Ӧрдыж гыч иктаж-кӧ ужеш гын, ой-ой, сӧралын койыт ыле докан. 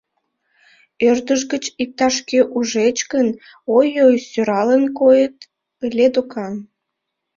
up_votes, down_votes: 0, 2